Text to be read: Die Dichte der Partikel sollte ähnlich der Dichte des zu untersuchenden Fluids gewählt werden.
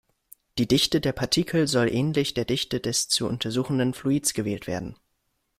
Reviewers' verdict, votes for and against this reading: rejected, 1, 2